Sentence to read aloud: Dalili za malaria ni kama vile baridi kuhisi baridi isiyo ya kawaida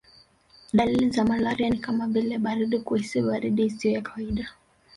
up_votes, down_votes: 1, 2